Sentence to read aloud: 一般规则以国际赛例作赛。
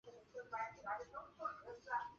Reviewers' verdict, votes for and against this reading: rejected, 0, 2